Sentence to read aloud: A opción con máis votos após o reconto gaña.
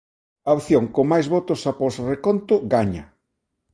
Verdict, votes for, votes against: accepted, 2, 1